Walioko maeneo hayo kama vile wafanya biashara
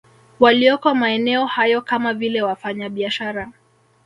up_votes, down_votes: 1, 2